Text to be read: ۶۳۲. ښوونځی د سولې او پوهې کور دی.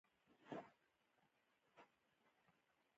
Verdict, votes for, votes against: rejected, 0, 2